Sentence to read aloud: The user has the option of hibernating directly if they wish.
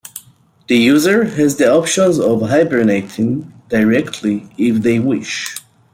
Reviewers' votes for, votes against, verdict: 0, 2, rejected